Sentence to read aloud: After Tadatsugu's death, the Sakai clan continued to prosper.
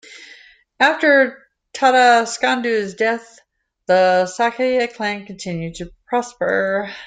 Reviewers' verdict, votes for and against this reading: rejected, 1, 2